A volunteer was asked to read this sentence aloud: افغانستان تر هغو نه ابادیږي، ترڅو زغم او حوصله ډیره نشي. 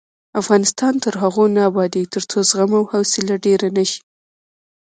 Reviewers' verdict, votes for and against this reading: rejected, 1, 2